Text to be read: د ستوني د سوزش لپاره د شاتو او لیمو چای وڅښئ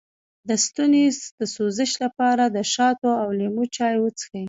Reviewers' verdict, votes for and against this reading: rejected, 1, 2